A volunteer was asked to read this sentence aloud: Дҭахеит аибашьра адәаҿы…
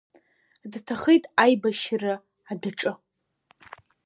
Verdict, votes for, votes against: accepted, 2, 0